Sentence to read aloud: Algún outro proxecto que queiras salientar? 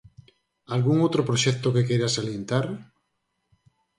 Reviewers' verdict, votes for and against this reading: accepted, 4, 0